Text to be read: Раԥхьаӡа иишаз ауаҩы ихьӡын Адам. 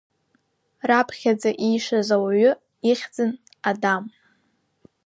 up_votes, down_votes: 3, 0